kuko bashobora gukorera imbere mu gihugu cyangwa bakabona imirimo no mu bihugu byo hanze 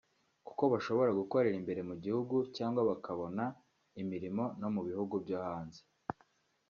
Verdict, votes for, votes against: accepted, 2, 0